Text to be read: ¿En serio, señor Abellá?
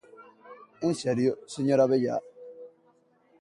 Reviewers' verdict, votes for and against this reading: accepted, 2, 0